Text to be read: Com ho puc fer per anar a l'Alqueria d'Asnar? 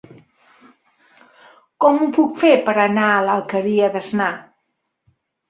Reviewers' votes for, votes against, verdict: 2, 0, accepted